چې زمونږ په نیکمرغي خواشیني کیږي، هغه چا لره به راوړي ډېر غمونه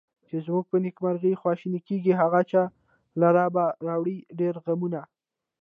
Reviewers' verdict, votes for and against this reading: accepted, 2, 0